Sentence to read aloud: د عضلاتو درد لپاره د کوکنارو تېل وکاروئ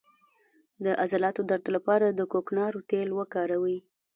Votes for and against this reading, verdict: 1, 2, rejected